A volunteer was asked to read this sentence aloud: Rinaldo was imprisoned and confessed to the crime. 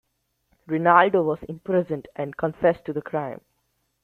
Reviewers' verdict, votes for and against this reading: accepted, 2, 0